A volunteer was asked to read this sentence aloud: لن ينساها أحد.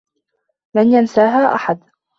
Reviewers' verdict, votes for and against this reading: accepted, 2, 0